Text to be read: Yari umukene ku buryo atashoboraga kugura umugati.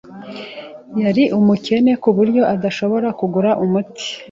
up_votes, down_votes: 0, 2